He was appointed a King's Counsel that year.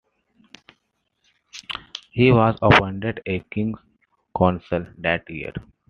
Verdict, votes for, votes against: accepted, 2, 1